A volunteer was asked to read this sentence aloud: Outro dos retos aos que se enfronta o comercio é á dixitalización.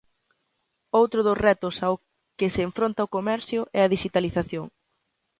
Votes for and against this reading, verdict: 1, 2, rejected